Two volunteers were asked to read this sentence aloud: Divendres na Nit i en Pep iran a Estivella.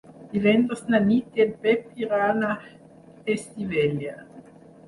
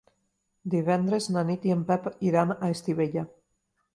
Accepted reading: second